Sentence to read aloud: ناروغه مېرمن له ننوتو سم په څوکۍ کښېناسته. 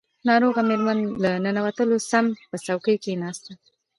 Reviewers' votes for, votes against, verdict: 1, 2, rejected